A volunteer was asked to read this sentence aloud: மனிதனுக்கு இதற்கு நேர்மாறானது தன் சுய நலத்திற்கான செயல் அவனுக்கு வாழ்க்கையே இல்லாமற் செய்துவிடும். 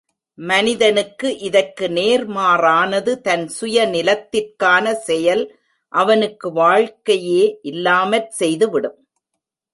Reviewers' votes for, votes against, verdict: 0, 2, rejected